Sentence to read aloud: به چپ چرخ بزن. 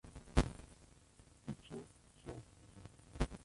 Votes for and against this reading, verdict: 0, 2, rejected